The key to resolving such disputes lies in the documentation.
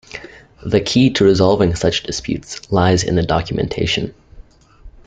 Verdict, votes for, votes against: accepted, 2, 1